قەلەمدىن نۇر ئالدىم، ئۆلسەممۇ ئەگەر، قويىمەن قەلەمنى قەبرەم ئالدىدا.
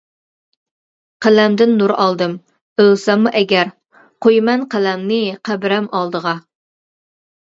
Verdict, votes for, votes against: rejected, 1, 2